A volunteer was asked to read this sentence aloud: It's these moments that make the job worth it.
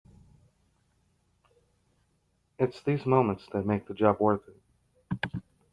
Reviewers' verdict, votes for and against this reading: accepted, 2, 0